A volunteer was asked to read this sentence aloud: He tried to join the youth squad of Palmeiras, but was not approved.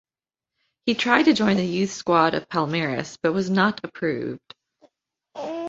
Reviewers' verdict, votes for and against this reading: accepted, 2, 0